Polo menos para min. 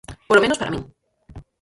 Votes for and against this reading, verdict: 0, 4, rejected